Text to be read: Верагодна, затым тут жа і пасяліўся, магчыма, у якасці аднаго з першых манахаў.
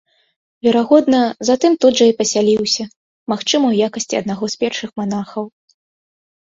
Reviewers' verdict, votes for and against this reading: accepted, 2, 0